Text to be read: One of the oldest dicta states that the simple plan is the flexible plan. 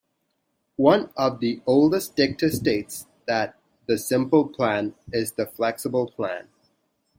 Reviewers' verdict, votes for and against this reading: accepted, 2, 0